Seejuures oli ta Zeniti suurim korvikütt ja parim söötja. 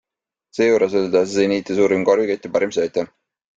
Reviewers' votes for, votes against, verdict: 2, 0, accepted